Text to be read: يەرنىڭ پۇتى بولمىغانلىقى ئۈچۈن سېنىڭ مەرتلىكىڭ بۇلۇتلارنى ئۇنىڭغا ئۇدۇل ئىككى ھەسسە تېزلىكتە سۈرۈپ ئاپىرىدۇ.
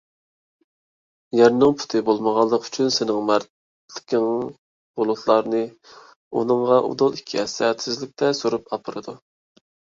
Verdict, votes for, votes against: rejected, 0, 2